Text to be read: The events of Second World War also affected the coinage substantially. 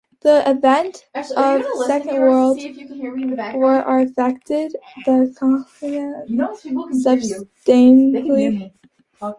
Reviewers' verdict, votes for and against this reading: rejected, 0, 2